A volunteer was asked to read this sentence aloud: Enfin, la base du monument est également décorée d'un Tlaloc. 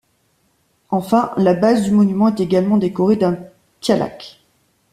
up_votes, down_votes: 1, 2